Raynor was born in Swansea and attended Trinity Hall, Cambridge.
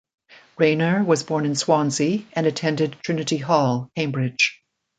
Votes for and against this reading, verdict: 2, 0, accepted